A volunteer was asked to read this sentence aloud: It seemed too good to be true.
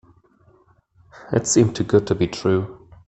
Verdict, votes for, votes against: accepted, 2, 0